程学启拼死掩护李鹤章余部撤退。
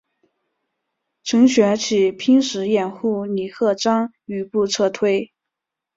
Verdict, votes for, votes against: accepted, 6, 0